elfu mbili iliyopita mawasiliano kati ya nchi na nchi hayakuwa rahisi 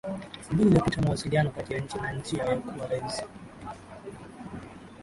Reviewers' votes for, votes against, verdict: 0, 2, rejected